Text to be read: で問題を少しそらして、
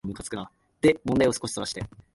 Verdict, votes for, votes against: accepted, 2, 1